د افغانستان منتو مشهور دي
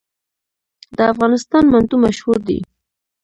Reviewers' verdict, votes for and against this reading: rejected, 0, 2